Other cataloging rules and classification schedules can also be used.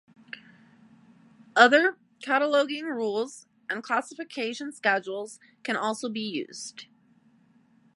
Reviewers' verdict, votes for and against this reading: accepted, 2, 0